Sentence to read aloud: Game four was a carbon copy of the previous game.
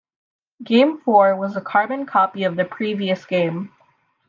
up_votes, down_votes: 2, 0